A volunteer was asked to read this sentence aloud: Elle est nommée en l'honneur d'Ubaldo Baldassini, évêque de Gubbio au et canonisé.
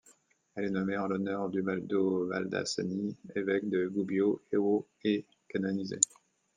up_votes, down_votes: 2, 1